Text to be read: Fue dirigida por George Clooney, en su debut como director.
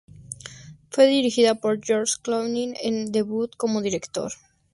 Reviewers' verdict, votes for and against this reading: rejected, 0, 2